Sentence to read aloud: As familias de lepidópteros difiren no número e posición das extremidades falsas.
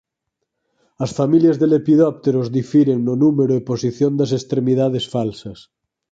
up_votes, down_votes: 4, 0